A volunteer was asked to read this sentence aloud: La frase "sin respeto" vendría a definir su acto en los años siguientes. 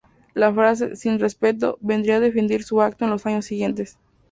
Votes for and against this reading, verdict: 2, 0, accepted